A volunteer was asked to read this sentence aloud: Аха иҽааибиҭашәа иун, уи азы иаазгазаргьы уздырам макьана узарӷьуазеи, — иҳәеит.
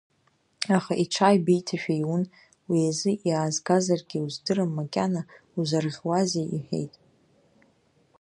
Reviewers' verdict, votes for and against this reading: rejected, 0, 2